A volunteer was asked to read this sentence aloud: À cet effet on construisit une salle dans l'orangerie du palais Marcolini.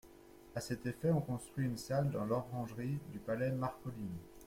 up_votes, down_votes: 1, 2